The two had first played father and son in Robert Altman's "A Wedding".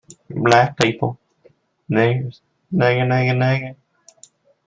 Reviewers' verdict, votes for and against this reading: rejected, 0, 2